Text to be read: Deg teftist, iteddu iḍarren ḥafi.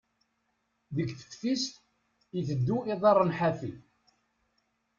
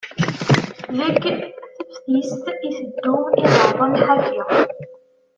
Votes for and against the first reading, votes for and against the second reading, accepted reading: 2, 0, 0, 2, first